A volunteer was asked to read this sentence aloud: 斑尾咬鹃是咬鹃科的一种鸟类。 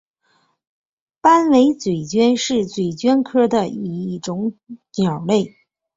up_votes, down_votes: 0, 2